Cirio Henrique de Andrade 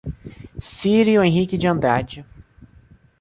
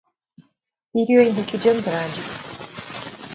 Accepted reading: first